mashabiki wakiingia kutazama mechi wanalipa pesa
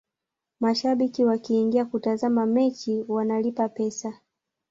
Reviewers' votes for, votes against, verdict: 0, 2, rejected